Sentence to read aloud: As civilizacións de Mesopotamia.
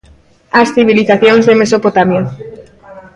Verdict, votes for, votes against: accepted, 2, 1